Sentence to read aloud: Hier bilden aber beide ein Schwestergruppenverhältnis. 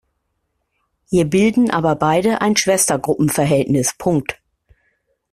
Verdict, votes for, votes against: rejected, 1, 2